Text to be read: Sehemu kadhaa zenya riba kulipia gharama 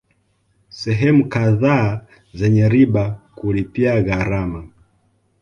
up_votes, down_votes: 2, 0